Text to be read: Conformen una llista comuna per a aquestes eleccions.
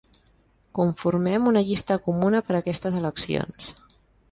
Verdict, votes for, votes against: rejected, 0, 2